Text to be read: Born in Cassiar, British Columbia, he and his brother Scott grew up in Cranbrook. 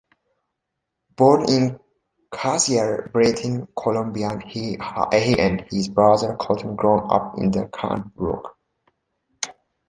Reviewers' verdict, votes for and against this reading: rejected, 0, 2